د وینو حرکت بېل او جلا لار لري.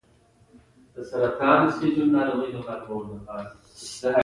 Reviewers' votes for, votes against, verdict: 1, 2, rejected